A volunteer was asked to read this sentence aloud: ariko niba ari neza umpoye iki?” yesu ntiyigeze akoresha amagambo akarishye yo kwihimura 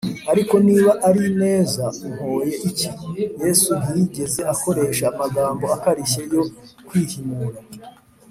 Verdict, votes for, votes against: accepted, 3, 0